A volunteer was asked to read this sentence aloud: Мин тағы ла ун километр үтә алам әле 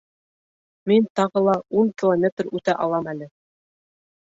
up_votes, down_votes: 2, 0